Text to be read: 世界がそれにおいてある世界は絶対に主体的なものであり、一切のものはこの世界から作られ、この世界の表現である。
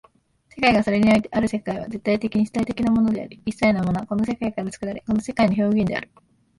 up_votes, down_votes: 0, 2